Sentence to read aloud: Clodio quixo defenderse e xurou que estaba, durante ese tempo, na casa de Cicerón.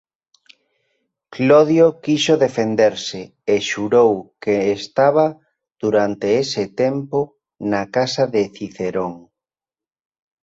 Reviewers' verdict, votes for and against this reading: rejected, 1, 2